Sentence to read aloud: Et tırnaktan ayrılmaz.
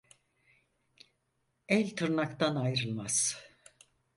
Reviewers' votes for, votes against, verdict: 0, 4, rejected